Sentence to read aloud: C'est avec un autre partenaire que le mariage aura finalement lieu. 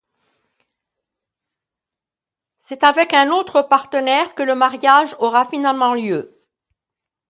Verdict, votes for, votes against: accepted, 2, 0